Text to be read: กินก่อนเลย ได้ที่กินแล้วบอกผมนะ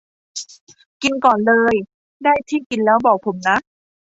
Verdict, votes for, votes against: accepted, 2, 0